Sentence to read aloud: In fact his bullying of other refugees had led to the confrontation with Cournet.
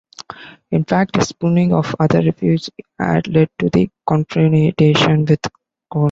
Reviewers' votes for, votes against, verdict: 0, 2, rejected